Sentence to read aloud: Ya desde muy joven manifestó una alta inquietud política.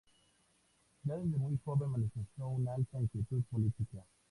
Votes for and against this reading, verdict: 2, 0, accepted